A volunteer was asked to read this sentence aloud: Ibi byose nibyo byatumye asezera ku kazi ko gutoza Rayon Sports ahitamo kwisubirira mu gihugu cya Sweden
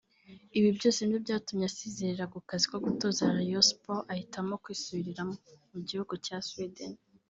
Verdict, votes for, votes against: rejected, 1, 3